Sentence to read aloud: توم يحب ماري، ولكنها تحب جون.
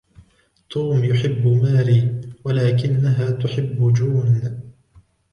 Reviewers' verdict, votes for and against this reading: accepted, 2, 1